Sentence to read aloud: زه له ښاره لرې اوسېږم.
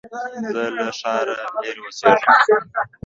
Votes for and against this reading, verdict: 1, 2, rejected